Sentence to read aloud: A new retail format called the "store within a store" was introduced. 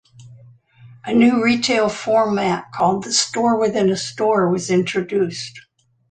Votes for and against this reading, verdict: 2, 0, accepted